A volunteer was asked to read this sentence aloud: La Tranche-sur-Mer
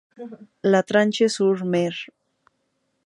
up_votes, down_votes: 4, 0